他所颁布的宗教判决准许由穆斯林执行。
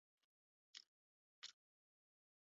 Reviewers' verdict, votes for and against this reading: rejected, 1, 2